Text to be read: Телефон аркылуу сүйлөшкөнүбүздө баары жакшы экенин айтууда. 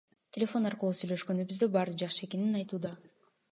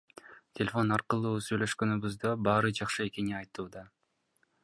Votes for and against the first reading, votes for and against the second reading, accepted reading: 2, 0, 0, 2, first